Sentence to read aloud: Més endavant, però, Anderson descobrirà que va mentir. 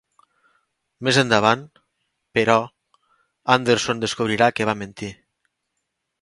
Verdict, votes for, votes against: accepted, 2, 0